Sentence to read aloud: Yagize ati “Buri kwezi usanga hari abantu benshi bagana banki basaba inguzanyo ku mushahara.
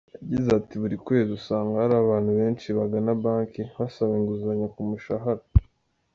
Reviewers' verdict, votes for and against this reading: rejected, 0, 2